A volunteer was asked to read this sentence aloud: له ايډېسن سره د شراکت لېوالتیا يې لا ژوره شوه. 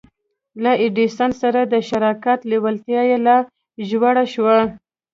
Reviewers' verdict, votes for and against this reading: accepted, 2, 0